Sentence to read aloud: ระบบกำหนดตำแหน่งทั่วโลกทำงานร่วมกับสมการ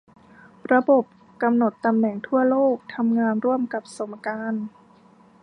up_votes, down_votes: 1, 2